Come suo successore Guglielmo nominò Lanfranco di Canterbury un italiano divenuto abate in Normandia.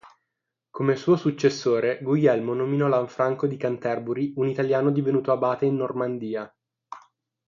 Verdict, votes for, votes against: rejected, 0, 3